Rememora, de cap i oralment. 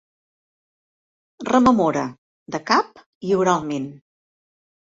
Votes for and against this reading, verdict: 2, 0, accepted